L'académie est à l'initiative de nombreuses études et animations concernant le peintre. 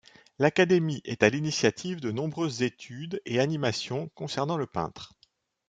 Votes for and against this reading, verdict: 2, 0, accepted